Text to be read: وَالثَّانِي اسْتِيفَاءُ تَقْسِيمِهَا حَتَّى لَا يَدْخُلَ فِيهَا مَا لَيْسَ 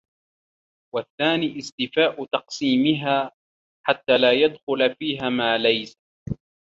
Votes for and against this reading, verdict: 1, 2, rejected